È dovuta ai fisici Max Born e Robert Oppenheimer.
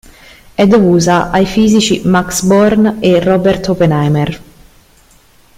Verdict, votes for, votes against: rejected, 0, 2